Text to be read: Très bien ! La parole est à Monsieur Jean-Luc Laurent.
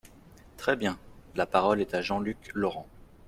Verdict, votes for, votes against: rejected, 0, 2